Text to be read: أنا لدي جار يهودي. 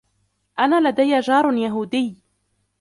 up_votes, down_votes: 1, 2